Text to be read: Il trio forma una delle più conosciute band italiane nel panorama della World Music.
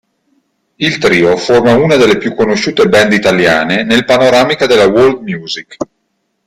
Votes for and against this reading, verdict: 0, 2, rejected